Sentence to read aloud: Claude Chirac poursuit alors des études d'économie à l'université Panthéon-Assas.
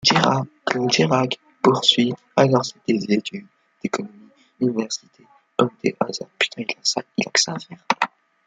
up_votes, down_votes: 0, 2